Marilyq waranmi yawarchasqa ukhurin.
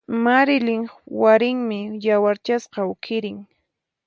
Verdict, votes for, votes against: rejected, 2, 4